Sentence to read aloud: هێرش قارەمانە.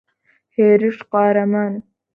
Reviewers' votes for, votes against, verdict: 2, 0, accepted